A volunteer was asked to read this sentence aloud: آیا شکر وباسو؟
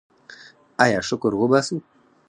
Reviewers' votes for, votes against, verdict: 0, 4, rejected